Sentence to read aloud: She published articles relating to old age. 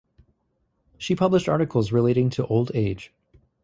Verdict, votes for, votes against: accepted, 2, 0